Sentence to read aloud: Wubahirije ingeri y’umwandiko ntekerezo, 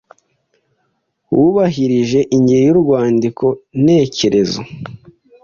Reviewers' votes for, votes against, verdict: 1, 2, rejected